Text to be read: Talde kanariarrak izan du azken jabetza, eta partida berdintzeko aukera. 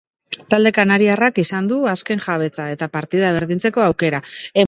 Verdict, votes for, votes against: rejected, 0, 2